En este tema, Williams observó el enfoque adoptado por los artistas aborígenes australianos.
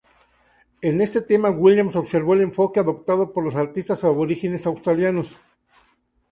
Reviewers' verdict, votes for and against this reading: accepted, 2, 0